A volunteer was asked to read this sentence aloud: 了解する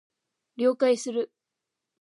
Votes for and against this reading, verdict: 1, 2, rejected